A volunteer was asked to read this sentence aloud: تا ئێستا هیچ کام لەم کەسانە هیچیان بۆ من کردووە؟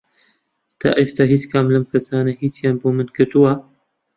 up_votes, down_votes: 2, 0